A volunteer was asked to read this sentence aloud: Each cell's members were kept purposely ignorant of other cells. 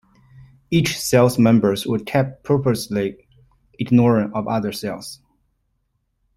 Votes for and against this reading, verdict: 1, 2, rejected